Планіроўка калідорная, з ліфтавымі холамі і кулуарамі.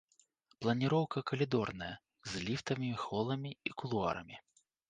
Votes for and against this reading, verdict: 1, 2, rejected